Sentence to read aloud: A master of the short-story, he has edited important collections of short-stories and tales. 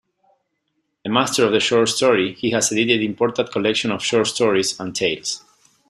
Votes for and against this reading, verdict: 0, 2, rejected